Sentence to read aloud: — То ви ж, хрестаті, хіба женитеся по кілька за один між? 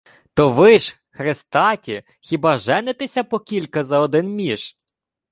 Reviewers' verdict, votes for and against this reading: accepted, 2, 0